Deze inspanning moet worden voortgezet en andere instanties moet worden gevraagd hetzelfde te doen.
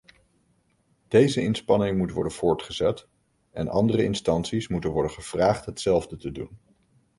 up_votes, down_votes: 0, 2